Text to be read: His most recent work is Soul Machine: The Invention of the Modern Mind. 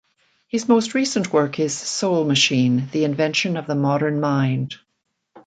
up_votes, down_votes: 2, 0